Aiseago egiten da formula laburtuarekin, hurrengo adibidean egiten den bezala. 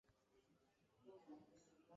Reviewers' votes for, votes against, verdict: 0, 2, rejected